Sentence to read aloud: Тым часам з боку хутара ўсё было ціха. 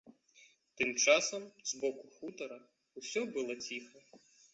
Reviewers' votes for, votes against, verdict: 1, 2, rejected